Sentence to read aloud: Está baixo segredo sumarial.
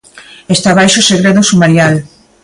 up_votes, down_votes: 2, 0